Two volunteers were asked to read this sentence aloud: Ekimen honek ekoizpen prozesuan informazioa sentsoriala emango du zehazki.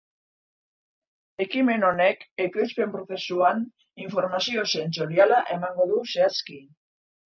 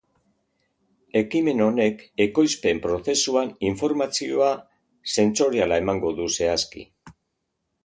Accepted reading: second